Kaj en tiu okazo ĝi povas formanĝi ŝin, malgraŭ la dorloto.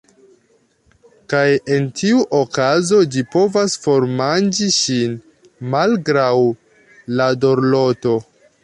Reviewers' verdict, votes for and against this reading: accepted, 2, 0